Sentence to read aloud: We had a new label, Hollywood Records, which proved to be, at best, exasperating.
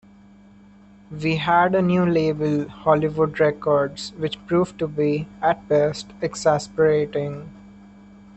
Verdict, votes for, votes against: rejected, 1, 2